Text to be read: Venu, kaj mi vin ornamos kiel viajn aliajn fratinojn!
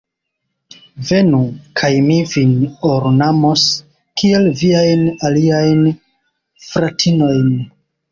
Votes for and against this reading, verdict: 2, 0, accepted